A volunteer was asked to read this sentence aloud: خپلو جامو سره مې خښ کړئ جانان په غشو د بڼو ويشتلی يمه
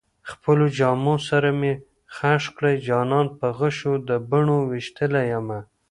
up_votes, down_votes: 1, 2